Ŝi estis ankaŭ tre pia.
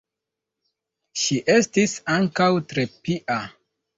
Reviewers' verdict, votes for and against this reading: rejected, 1, 2